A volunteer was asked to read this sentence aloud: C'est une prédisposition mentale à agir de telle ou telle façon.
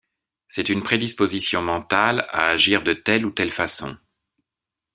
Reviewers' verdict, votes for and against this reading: accepted, 2, 0